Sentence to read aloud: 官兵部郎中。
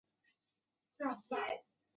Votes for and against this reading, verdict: 0, 4, rejected